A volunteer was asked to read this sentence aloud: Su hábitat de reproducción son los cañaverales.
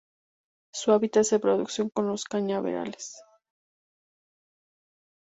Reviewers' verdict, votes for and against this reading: rejected, 0, 2